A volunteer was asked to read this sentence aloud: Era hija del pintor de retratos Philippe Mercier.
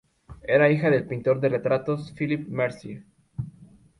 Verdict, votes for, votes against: accepted, 2, 0